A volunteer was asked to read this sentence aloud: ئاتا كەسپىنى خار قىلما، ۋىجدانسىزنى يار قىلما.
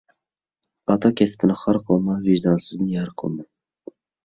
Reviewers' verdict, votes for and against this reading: accepted, 2, 0